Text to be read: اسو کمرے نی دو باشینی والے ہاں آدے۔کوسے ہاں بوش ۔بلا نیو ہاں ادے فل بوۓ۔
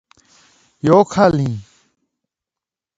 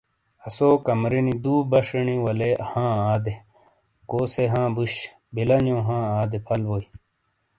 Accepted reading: second